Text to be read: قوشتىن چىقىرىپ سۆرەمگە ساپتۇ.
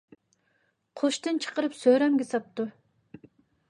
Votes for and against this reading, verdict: 2, 0, accepted